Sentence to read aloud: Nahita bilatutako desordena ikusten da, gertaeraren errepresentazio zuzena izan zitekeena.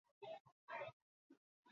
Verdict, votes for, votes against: rejected, 0, 4